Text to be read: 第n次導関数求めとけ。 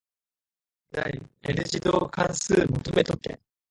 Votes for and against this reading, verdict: 2, 1, accepted